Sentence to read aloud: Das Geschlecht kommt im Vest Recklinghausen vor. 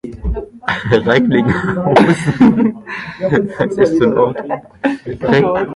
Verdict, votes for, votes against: rejected, 0, 2